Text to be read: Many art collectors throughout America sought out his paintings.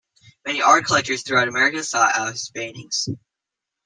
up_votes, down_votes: 1, 2